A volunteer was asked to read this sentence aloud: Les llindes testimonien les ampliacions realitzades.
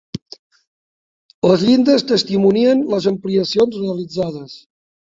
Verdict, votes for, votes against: rejected, 1, 2